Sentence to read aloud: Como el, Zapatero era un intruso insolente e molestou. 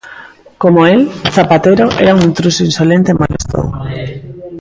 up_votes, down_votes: 1, 2